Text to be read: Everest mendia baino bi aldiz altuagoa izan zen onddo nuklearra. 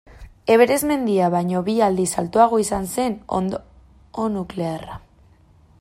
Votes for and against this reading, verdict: 0, 2, rejected